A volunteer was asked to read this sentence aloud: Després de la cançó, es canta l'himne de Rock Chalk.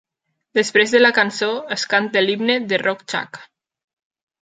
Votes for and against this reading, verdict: 0, 2, rejected